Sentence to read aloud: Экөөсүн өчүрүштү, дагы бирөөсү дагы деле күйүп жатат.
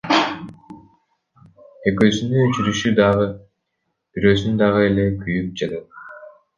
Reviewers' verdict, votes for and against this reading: rejected, 0, 2